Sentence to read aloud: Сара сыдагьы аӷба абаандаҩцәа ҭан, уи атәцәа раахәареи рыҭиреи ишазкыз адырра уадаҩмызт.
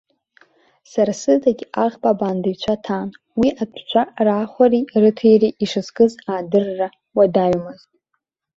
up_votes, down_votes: 1, 2